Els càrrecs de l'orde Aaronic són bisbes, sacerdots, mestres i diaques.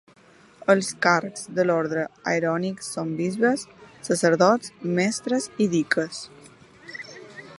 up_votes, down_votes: 0, 2